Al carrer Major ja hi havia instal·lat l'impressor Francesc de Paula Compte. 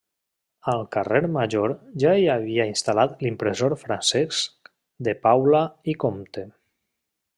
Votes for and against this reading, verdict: 0, 2, rejected